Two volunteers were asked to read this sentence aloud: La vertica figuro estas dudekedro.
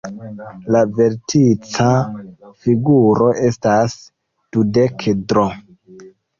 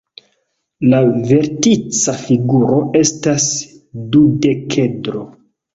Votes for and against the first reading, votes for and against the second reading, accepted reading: 0, 2, 2, 1, second